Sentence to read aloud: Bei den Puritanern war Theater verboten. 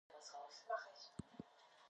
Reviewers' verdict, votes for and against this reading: rejected, 0, 2